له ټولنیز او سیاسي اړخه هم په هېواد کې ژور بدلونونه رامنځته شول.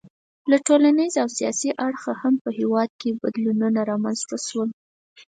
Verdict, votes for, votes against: rejected, 2, 4